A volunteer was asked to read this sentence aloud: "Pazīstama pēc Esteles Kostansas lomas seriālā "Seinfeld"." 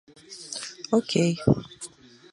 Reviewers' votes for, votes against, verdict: 0, 2, rejected